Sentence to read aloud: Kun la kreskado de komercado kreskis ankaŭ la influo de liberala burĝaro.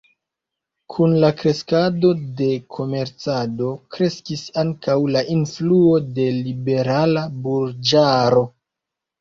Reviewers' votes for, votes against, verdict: 2, 1, accepted